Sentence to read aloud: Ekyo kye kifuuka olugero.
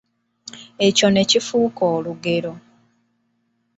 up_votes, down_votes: 1, 2